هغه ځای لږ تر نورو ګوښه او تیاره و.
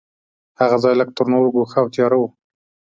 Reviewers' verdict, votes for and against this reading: accepted, 3, 0